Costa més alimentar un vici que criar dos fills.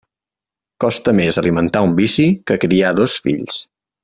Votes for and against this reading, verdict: 3, 0, accepted